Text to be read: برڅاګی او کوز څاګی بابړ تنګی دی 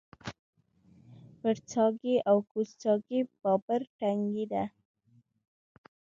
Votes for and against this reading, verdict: 2, 0, accepted